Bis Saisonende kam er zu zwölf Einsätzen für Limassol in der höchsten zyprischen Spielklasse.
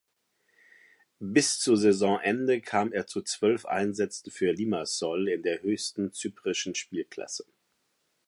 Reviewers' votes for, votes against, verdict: 0, 2, rejected